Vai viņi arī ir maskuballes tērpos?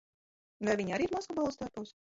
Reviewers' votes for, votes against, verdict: 0, 2, rejected